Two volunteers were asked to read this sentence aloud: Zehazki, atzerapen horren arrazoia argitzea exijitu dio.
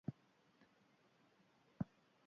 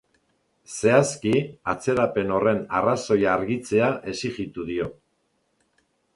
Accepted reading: second